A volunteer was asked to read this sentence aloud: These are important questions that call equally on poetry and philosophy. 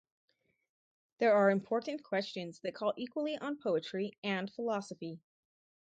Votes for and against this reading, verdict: 0, 4, rejected